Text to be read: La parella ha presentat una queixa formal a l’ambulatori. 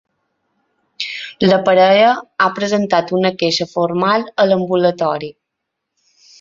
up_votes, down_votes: 3, 0